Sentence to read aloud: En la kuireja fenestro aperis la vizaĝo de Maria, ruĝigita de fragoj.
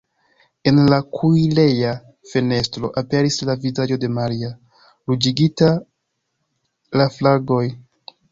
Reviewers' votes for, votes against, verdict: 0, 2, rejected